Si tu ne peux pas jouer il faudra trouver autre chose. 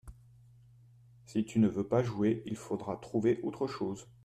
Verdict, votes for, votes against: rejected, 1, 2